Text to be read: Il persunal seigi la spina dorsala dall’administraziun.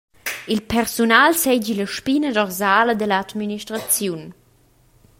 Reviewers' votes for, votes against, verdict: 2, 0, accepted